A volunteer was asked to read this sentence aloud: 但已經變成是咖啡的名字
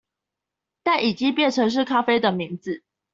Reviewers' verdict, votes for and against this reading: accepted, 2, 0